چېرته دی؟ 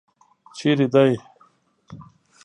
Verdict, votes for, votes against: rejected, 1, 2